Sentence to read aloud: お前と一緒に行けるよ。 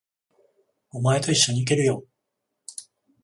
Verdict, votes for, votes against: rejected, 7, 14